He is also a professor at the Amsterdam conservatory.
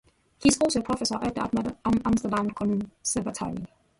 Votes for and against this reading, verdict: 1, 2, rejected